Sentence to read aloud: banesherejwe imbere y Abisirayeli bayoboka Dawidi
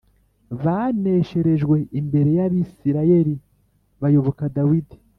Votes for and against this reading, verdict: 2, 0, accepted